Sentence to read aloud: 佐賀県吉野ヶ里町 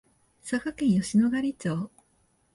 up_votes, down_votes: 2, 0